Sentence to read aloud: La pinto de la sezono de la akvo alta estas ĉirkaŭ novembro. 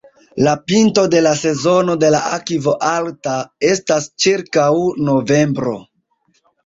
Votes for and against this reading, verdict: 2, 0, accepted